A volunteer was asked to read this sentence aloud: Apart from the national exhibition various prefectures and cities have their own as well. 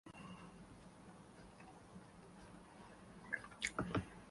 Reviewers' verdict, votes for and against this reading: rejected, 0, 2